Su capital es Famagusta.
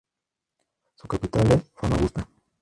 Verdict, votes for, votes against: accepted, 2, 0